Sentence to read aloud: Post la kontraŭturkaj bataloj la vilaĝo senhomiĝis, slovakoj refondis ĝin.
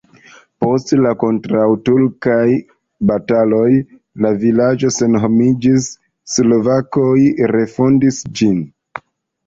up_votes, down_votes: 2, 0